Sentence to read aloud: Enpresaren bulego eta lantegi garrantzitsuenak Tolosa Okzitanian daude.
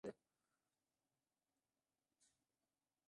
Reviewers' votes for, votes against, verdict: 0, 3, rejected